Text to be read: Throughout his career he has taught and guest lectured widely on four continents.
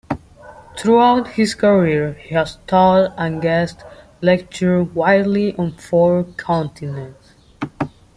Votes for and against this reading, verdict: 0, 2, rejected